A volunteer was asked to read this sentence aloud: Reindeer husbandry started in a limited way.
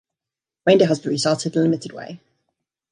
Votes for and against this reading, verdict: 1, 2, rejected